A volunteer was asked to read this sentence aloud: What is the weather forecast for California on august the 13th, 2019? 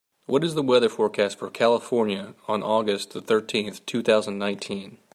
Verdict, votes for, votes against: rejected, 0, 2